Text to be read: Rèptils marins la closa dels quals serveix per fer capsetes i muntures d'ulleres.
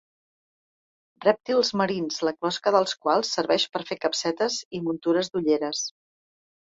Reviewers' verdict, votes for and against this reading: rejected, 0, 2